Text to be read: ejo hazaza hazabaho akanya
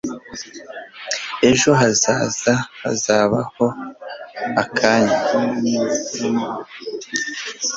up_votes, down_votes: 2, 0